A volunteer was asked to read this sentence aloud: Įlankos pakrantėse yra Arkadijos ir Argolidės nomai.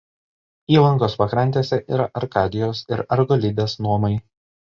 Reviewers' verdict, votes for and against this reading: accepted, 2, 0